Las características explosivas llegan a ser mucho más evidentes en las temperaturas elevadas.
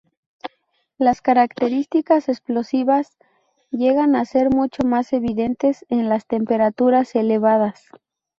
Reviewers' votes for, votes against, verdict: 2, 0, accepted